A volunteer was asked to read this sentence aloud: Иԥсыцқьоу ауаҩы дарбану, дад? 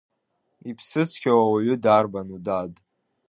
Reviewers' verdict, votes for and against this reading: accepted, 3, 0